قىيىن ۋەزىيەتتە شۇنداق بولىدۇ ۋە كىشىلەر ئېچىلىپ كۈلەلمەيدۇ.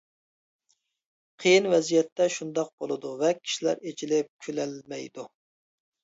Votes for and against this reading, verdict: 2, 0, accepted